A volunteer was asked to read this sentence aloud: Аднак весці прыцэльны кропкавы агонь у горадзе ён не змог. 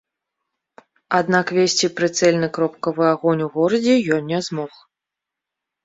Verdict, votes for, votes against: accepted, 2, 1